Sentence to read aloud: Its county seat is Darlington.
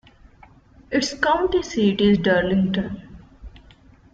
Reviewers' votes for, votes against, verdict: 2, 0, accepted